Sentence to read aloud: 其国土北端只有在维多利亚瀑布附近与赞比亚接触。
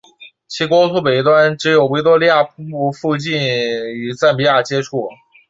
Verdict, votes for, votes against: rejected, 2, 2